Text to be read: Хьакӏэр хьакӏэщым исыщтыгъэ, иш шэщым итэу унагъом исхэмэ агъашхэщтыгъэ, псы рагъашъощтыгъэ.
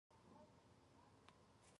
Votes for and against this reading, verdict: 0, 2, rejected